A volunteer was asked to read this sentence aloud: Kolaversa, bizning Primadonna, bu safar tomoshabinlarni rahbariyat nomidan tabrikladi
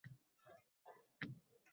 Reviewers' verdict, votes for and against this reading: rejected, 0, 2